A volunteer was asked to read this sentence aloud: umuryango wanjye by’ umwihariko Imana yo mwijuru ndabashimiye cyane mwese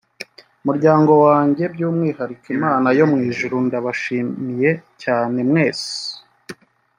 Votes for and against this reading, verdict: 1, 2, rejected